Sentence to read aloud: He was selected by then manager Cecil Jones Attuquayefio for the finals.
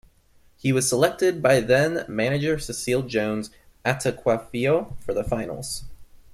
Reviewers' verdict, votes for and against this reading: accepted, 2, 0